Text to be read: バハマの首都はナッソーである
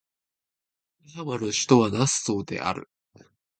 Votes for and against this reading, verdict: 1, 2, rejected